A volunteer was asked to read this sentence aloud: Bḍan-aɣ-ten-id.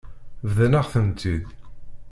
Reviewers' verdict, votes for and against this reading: rejected, 1, 2